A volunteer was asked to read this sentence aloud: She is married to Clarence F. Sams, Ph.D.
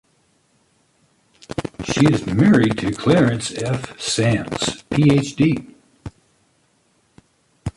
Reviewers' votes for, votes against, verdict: 0, 2, rejected